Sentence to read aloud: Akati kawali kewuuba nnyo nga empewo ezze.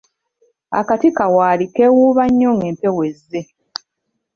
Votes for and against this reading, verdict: 0, 2, rejected